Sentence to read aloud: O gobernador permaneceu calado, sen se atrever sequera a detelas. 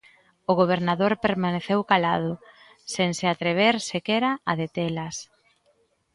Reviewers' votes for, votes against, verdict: 2, 0, accepted